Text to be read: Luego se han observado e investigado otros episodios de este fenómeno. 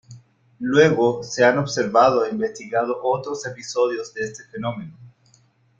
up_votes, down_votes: 2, 0